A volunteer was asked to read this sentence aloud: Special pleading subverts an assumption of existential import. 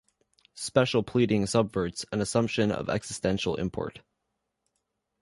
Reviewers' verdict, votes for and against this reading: accepted, 2, 0